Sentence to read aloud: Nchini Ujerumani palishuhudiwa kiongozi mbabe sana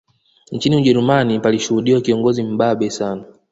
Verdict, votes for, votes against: accepted, 2, 1